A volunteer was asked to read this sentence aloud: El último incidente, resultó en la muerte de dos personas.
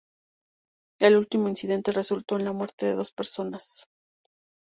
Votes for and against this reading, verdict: 2, 0, accepted